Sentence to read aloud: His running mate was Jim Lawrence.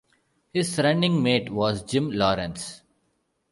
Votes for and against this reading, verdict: 2, 0, accepted